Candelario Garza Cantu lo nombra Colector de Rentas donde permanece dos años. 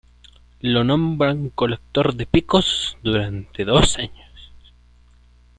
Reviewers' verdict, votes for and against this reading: rejected, 0, 2